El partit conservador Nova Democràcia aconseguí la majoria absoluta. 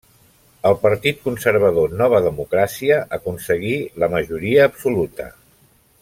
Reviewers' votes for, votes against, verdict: 3, 0, accepted